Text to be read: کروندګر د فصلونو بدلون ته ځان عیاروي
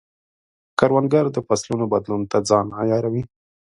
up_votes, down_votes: 2, 0